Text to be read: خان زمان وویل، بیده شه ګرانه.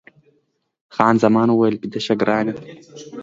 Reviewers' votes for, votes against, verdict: 2, 0, accepted